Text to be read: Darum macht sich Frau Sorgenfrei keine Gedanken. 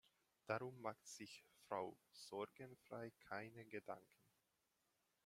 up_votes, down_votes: 1, 2